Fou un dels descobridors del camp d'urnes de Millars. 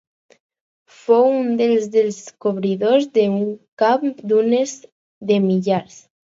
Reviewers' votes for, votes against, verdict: 4, 2, accepted